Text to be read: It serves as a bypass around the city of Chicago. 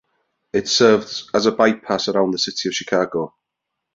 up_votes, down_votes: 2, 0